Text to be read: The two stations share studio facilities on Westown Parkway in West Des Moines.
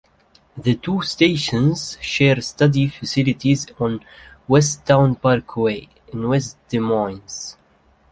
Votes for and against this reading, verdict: 0, 2, rejected